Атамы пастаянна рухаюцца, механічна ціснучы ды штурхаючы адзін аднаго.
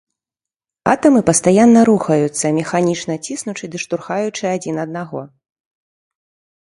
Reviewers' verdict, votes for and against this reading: rejected, 1, 2